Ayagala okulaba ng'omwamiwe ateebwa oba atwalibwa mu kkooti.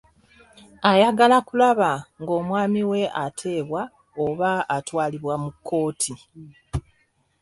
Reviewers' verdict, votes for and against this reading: rejected, 1, 2